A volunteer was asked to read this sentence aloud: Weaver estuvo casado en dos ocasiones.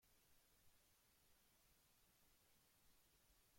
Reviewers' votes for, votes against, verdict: 0, 2, rejected